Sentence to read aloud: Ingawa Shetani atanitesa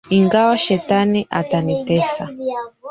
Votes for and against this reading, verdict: 0, 3, rejected